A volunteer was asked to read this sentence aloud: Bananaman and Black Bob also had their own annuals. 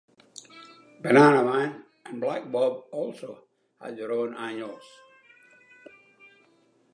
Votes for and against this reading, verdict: 1, 2, rejected